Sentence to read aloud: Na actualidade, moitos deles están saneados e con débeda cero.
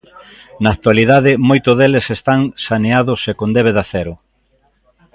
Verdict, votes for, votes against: rejected, 1, 2